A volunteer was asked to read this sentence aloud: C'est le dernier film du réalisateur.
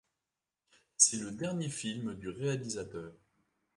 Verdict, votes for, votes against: accepted, 2, 0